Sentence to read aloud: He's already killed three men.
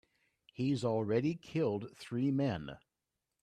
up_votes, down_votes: 2, 0